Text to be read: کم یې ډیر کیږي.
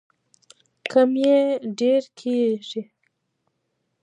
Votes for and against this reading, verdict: 0, 2, rejected